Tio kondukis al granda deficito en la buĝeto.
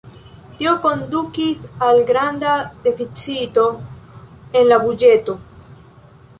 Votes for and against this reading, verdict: 1, 2, rejected